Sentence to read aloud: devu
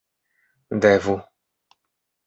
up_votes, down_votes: 2, 0